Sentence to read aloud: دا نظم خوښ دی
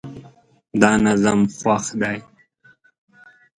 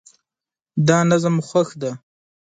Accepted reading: first